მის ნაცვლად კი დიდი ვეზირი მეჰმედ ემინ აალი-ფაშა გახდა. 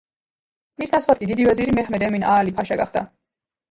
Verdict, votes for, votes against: rejected, 1, 2